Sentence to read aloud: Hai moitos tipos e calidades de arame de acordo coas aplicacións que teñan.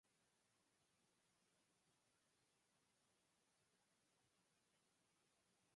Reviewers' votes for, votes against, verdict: 0, 4, rejected